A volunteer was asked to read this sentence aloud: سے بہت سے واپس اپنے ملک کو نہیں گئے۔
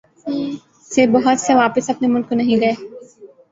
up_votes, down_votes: 0, 2